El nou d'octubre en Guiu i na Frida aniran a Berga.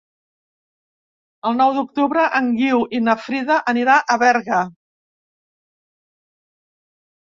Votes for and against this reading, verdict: 0, 2, rejected